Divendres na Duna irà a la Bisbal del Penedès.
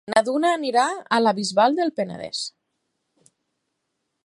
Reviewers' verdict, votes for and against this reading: rejected, 0, 4